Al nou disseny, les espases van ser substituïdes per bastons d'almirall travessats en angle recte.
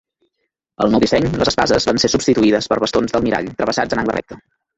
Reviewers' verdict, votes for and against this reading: rejected, 1, 2